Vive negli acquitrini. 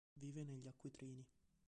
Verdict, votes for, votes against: rejected, 1, 2